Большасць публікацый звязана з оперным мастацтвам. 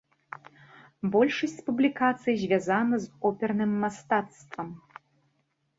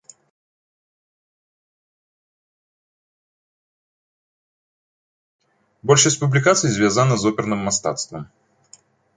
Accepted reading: first